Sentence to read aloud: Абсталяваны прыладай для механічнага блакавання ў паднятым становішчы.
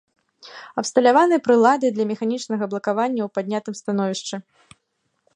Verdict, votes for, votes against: accepted, 2, 0